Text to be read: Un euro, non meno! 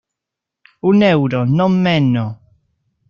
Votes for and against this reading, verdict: 0, 2, rejected